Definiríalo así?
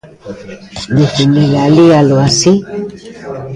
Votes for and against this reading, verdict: 1, 2, rejected